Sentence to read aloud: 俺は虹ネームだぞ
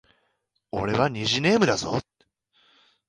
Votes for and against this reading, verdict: 2, 0, accepted